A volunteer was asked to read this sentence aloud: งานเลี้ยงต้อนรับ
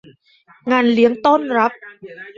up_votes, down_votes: 2, 0